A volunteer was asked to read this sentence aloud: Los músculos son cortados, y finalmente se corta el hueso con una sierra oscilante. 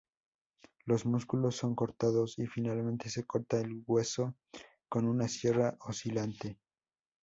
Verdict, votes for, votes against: accepted, 2, 0